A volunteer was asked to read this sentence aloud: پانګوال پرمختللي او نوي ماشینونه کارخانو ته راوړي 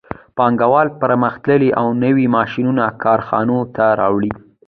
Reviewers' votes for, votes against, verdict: 2, 1, accepted